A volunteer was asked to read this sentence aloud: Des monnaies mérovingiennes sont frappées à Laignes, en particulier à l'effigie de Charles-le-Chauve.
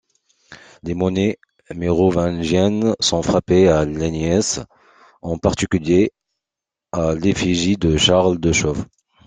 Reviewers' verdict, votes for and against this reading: rejected, 0, 2